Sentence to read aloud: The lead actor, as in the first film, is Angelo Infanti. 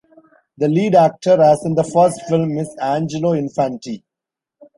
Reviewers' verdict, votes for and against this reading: accepted, 2, 0